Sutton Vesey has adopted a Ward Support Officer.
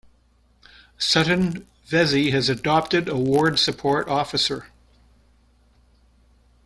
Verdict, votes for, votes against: accepted, 2, 0